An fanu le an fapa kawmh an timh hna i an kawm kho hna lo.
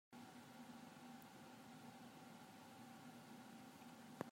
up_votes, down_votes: 1, 2